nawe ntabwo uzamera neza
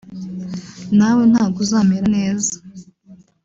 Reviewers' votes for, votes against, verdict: 1, 2, rejected